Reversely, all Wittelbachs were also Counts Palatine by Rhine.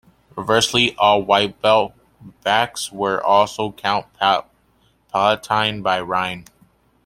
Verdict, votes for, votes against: rejected, 0, 2